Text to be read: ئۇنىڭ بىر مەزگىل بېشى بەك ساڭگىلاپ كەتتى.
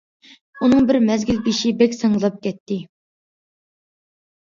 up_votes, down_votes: 2, 0